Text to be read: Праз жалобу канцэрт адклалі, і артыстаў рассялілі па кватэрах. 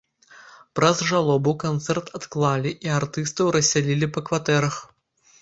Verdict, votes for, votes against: accepted, 2, 0